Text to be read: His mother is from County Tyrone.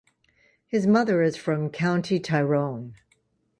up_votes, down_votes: 2, 0